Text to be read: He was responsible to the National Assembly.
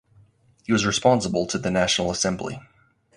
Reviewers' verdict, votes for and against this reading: accepted, 4, 0